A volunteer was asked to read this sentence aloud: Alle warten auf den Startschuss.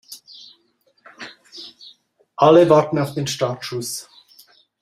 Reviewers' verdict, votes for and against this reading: accepted, 2, 0